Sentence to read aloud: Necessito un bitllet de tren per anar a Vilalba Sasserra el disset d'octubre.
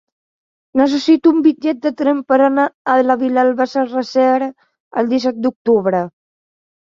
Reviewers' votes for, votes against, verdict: 0, 2, rejected